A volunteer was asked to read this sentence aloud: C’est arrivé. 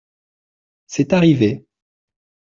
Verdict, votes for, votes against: accepted, 2, 0